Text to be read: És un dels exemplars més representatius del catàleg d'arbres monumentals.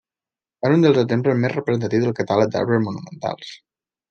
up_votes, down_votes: 0, 2